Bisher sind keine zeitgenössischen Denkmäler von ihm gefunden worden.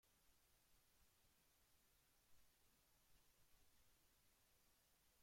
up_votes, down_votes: 0, 2